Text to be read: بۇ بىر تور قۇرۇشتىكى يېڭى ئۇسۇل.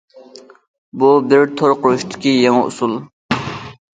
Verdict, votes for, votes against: accepted, 2, 0